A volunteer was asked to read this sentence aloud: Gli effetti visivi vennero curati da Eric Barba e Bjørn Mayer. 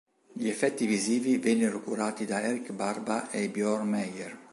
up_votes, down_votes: 2, 0